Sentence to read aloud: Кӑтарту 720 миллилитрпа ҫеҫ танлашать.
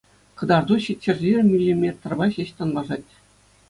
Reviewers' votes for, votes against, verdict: 0, 2, rejected